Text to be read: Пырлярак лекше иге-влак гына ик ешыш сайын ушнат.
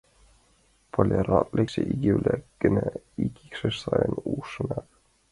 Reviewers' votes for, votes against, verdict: 0, 2, rejected